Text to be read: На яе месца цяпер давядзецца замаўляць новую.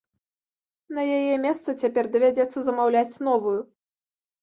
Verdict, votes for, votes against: accepted, 2, 0